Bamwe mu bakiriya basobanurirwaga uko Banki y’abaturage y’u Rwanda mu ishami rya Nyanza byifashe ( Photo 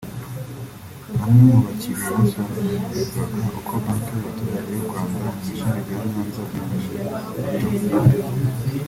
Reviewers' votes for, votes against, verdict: 0, 3, rejected